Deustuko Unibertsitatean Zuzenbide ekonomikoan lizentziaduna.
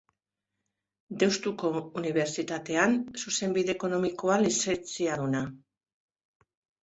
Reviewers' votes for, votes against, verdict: 3, 1, accepted